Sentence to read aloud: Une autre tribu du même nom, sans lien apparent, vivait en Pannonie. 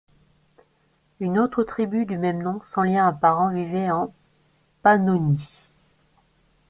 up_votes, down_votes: 2, 1